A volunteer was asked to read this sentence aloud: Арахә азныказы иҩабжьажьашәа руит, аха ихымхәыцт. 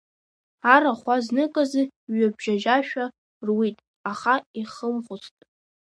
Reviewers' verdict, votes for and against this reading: rejected, 1, 2